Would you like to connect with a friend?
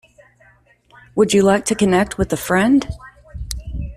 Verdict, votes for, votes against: accepted, 2, 0